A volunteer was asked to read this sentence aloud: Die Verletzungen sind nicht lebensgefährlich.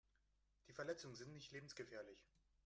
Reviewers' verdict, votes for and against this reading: rejected, 1, 2